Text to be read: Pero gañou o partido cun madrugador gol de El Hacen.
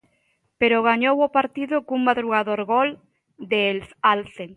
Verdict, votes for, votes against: rejected, 1, 2